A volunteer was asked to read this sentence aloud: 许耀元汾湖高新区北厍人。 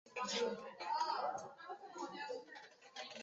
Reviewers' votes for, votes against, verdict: 0, 2, rejected